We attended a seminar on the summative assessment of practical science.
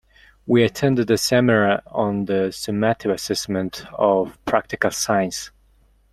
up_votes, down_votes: 0, 2